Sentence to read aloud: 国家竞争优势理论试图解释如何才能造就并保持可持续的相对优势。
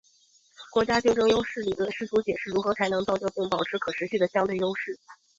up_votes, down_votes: 1, 2